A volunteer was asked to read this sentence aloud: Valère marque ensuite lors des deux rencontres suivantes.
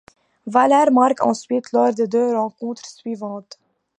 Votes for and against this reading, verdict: 0, 2, rejected